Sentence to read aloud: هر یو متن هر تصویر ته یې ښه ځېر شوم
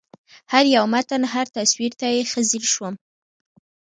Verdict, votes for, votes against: rejected, 0, 2